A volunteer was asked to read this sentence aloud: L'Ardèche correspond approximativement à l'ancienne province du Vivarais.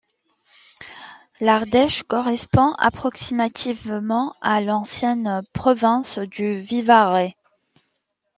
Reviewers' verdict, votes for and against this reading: accepted, 2, 0